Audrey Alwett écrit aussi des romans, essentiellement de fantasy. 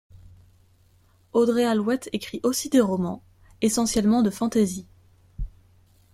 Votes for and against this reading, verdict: 2, 0, accepted